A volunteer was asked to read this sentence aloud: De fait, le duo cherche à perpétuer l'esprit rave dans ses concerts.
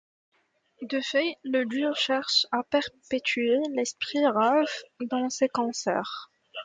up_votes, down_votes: 1, 2